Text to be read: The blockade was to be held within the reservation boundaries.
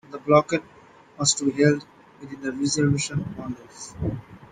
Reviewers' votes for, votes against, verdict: 1, 2, rejected